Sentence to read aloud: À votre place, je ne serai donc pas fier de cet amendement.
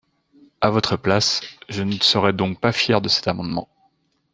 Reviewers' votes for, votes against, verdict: 2, 0, accepted